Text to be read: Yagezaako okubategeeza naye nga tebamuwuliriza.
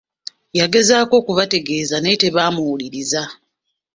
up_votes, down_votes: 1, 2